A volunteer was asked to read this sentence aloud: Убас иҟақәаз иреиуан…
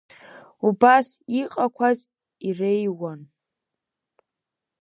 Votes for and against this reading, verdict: 2, 0, accepted